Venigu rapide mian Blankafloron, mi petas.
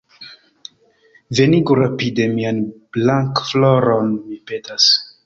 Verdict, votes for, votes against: accepted, 2, 1